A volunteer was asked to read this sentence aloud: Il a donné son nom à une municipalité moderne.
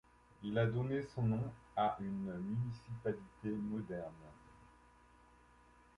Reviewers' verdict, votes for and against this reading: accepted, 2, 0